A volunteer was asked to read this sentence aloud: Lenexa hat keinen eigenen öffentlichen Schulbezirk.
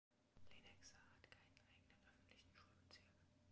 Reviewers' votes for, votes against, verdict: 1, 2, rejected